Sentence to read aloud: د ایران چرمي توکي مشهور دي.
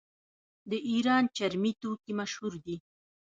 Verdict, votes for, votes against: rejected, 1, 2